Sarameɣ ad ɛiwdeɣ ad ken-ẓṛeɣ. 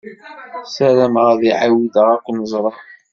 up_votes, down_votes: 1, 2